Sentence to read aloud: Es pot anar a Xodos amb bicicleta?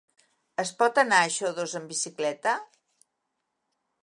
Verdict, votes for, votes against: accepted, 3, 0